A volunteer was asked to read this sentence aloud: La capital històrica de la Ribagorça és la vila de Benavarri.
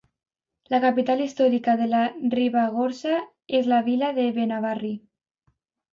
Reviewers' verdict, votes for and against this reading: accepted, 2, 0